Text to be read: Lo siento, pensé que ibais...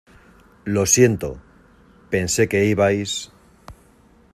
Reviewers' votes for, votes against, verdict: 2, 0, accepted